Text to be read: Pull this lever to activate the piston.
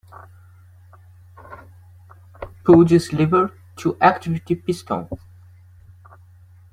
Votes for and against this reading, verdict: 2, 1, accepted